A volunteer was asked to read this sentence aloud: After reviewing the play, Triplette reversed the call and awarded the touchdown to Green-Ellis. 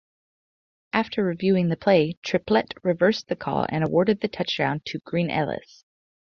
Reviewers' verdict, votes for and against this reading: accepted, 2, 0